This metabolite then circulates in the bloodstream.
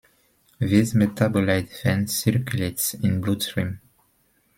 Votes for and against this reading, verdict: 0, 2, rejected